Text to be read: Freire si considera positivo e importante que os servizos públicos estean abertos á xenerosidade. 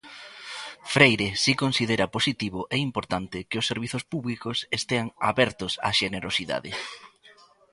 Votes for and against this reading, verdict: 2, 0, accepted